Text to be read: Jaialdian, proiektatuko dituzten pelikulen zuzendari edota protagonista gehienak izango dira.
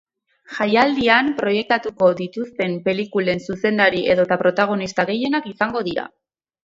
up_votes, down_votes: 4, 0